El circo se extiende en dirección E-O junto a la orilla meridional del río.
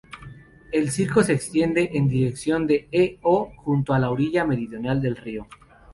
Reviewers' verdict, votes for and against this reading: rejected, 2, 2